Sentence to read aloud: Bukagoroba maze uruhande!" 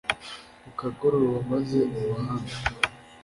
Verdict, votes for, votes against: accepted, 2, 0